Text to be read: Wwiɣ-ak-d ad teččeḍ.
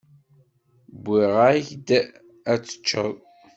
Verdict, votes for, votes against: rejected, 1, 2